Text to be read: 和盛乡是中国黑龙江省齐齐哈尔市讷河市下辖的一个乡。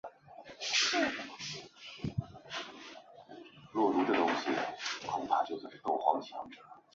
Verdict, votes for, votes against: rejected, 0, 2